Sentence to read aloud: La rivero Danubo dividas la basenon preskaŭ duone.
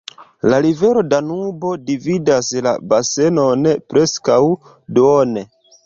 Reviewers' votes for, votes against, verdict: 2, 1, accepted